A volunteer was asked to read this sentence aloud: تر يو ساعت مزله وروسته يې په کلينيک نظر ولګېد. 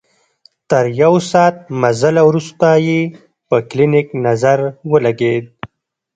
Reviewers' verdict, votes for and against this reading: accepted, 2, 0